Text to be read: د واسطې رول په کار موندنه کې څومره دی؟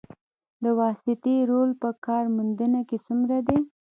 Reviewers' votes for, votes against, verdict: 1, 2, rejected